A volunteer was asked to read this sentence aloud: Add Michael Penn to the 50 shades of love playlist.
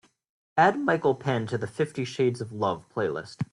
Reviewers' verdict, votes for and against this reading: rejected, 0, 2